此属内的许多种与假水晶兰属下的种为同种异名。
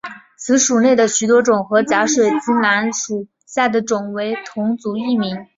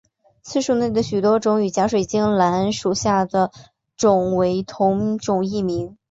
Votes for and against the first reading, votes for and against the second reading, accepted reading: 2, 0, 0, 3, first